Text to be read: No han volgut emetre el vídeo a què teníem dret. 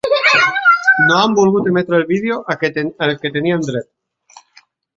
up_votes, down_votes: 0, 2